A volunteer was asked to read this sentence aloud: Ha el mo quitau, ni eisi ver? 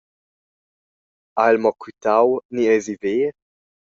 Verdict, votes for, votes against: accepted, 2, 0